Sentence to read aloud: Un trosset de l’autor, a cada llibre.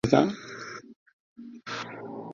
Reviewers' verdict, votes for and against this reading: rejected, 1, 4